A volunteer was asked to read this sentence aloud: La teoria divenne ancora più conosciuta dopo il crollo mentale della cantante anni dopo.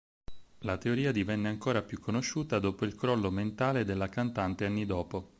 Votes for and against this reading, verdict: 4, 0, accepted